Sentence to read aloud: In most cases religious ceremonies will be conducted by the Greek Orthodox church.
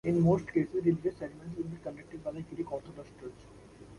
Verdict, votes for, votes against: rejected, 0, 2